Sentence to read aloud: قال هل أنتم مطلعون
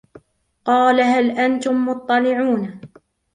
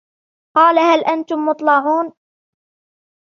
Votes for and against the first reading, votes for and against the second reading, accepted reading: 2, 0, 1, 2, first